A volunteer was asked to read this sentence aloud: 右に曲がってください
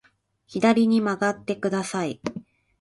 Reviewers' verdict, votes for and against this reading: rejected, 0, 2